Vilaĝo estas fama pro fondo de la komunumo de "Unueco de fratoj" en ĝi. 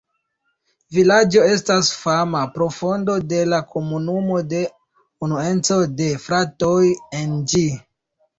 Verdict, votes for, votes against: rejected, 1, 2